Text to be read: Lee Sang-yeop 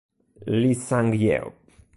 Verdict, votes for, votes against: rejected, 1, 2